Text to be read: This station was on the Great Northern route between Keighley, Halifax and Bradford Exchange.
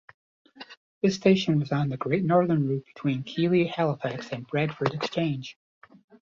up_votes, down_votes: 0, 2